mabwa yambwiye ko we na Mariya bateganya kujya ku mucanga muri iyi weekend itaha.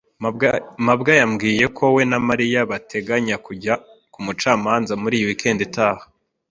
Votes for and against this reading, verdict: 1, 2, rejected